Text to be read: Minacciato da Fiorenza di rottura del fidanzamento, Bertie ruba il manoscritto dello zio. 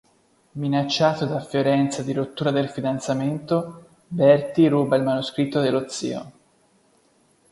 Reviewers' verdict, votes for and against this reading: accepted, 3, 0